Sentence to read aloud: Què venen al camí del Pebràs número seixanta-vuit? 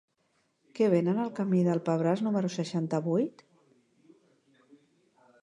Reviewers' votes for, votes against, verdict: 3, 0, accepted